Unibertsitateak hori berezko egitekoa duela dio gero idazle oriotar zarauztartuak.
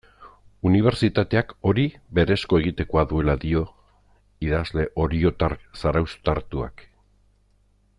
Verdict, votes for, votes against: rejected, 1, 2